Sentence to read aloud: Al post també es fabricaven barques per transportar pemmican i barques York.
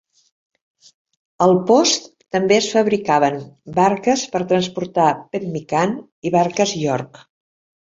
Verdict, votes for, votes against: accepted, 2, 0